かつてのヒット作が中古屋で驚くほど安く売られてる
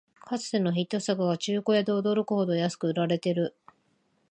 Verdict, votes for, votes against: accepted, 2, 0